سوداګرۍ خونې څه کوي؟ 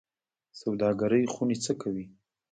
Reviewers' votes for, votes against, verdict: 2, 1, accepted